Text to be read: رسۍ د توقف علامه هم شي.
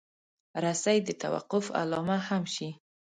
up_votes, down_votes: 2, 0